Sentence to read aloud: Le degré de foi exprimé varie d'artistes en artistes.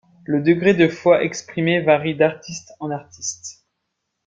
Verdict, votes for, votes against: accepted, 2, 0